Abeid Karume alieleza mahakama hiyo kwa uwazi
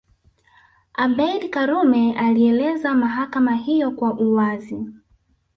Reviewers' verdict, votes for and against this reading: rejected, 1, 2